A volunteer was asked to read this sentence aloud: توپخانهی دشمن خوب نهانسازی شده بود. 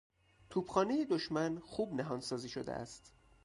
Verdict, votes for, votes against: rejected, 2, 4